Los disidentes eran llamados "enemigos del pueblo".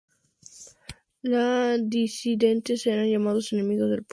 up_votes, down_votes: 0, 2